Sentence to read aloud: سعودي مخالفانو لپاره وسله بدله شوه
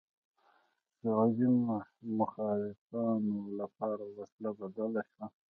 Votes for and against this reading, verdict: 2, 1, accepted